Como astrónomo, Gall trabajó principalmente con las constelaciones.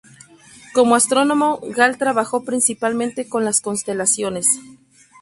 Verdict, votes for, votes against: accepted, 4, 0